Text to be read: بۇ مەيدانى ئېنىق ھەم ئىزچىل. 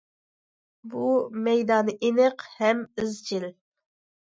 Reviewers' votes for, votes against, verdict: 2, 0, accepted